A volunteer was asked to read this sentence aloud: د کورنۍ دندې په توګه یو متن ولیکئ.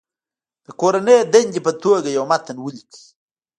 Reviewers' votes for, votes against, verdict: 1, 2, rejected